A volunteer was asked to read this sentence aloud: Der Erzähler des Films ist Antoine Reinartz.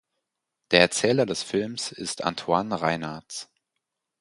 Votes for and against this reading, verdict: 4, 0, accepted